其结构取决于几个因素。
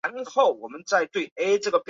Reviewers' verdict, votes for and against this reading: rejected, 0, 2